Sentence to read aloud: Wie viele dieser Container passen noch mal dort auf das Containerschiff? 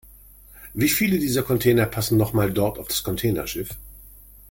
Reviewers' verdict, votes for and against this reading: accepted, 2, 0